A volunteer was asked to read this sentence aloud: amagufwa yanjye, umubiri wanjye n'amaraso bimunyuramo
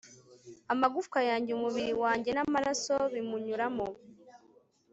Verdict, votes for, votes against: accepted, 3, 0